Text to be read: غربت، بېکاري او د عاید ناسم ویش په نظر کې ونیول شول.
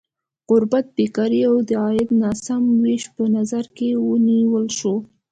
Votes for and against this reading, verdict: 2, 0, accepted